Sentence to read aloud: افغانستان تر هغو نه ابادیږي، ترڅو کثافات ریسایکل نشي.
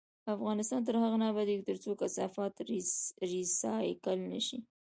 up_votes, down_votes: 2, 1